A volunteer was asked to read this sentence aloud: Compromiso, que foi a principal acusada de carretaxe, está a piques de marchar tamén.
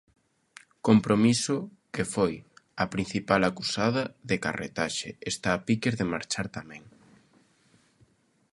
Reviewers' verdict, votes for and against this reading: accepted, 2, 0